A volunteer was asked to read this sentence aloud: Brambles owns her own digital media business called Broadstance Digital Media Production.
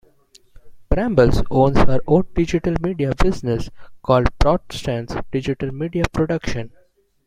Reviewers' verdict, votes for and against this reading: accepted, 2, 1